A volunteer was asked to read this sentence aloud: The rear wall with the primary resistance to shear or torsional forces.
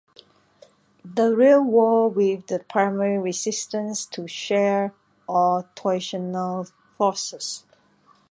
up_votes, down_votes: 2, 0